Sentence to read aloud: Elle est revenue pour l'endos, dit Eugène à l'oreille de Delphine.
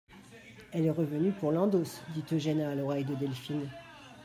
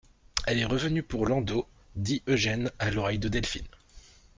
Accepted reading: second